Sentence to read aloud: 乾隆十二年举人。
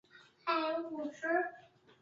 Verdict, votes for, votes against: rejected, 0, 2